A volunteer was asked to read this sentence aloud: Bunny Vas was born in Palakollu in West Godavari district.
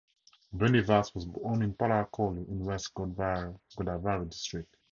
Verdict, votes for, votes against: accepted, 4, 0